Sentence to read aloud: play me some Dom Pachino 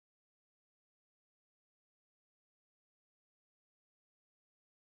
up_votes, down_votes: 0, 2